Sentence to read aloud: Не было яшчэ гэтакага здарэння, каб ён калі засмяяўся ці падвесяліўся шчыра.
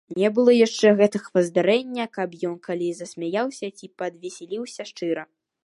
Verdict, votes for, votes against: rejected, 1, 2